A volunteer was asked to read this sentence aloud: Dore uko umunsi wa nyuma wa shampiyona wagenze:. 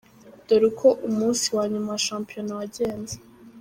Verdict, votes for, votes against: accepted, 2, 1